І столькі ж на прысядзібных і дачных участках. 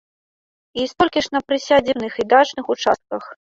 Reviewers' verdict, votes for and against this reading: rejected, 0, 2